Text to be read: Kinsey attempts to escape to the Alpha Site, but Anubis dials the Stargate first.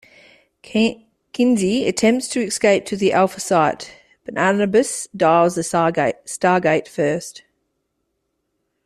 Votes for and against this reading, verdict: 0, 2, rejected